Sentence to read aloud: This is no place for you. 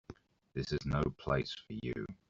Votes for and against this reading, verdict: 2, 0, accepted